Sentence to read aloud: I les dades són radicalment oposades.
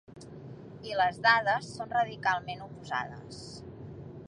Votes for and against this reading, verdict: 3, 0, accepted